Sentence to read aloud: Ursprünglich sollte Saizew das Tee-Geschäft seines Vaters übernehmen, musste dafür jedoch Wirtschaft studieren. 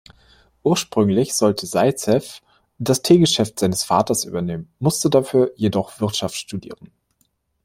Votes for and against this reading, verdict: 2, 0, accepted